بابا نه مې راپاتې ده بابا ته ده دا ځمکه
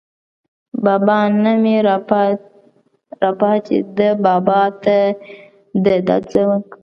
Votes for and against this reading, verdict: 1, 2, rejected